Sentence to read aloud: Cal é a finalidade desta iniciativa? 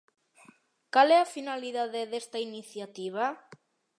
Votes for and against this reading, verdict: 2, 0, accepted